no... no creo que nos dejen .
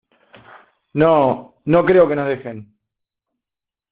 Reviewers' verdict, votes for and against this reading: accepted, 2, 0